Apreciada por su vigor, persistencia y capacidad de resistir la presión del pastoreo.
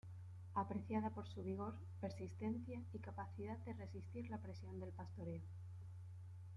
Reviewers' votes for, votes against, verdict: 2, 1, accepted